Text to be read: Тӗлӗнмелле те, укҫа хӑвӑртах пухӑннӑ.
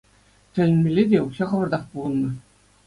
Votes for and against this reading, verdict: 2, 0, accepted